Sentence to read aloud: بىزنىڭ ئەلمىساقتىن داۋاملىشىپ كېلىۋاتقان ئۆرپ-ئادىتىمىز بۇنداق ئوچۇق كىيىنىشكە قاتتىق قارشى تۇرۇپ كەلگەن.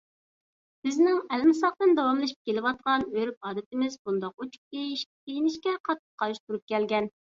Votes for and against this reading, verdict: 0, 2, rejected